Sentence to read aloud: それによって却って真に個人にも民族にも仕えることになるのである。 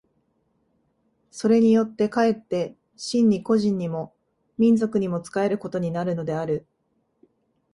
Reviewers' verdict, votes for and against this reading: accepted, 2, 0